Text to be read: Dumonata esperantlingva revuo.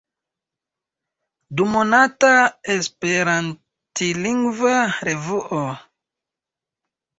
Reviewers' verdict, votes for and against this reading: accepted, 2, 0